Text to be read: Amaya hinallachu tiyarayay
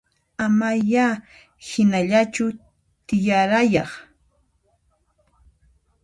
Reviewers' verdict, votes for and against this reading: rejected, 0, 2